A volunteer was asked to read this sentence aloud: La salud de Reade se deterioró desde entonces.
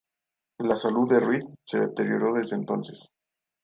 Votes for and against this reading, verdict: 2, 0, accepted